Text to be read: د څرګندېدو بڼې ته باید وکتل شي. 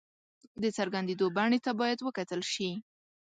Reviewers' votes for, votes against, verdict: 2, 0, accepted